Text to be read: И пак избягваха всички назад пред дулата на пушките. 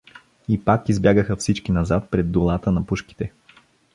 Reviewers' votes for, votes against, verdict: 1, 2, rejected